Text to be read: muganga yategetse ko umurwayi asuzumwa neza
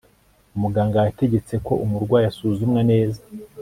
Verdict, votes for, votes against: accepted, 3, 0